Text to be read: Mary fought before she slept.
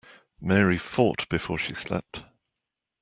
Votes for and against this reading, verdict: 2, 0, accepted